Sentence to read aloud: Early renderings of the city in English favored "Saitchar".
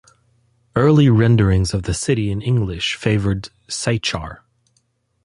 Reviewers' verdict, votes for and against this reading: accepted, 2, 0